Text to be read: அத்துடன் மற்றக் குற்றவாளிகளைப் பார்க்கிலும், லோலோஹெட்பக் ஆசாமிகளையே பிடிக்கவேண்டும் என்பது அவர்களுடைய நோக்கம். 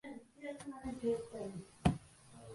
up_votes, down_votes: 0, 2